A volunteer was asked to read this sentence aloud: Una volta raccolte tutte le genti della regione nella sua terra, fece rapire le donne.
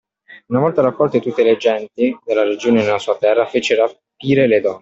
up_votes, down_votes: 0, 2